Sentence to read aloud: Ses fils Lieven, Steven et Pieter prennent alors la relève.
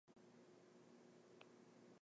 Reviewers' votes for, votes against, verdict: 0, 2, rejected